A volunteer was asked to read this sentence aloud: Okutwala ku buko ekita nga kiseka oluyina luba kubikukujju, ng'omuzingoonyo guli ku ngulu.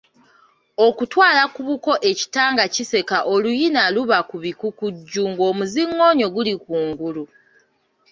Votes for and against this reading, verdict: 2, 0, accepted